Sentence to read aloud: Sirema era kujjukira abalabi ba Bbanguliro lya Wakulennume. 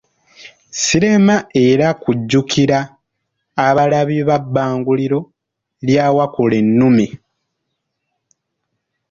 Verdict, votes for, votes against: accepted, 2, 0